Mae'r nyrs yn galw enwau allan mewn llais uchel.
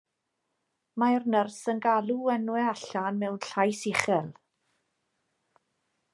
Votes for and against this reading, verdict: 2, 0, accepted